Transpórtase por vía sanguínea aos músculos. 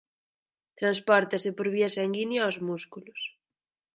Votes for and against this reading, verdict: 4, 0, accepted